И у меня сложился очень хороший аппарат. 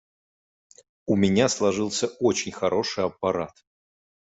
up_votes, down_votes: 0, 2